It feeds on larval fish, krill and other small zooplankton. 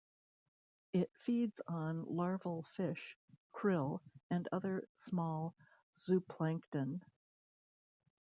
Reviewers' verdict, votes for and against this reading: rejected, 1, 2